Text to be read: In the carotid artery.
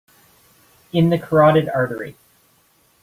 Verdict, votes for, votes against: accepted, 2, 0